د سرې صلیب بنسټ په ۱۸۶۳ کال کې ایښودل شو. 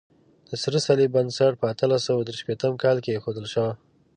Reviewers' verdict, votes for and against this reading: rejected, 0, 2